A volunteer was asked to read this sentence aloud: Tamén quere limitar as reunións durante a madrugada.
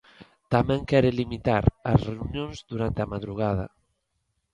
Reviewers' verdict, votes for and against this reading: accepted, 2, 0